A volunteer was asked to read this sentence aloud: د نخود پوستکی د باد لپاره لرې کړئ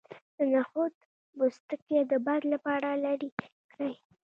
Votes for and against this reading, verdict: 1, 2, rejected